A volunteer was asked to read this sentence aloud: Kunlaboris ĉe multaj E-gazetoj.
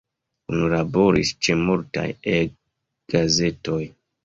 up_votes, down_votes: 1, 2